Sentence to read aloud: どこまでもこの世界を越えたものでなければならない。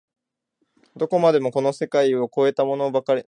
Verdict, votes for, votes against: rejected, 0, 2